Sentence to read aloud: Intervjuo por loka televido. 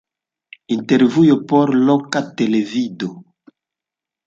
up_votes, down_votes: 0, 2